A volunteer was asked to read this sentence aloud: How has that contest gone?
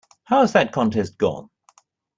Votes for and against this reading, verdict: 2, 0, accepted